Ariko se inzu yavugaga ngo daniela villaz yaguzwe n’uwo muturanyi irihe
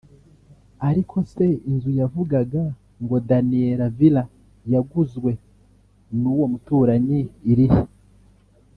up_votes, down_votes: 2, 0